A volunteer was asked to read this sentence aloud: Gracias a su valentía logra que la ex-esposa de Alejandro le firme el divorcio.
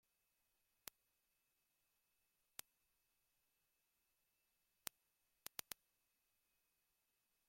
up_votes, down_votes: 0, 2